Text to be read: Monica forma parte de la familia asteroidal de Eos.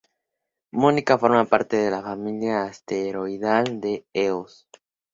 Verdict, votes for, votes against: accepted, 2, 0